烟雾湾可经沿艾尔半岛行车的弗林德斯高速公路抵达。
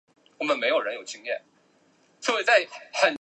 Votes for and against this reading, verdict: 0, 2, rejected